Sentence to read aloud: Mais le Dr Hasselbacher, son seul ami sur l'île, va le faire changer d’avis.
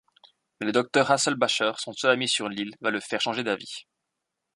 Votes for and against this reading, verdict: 1, 2, rejected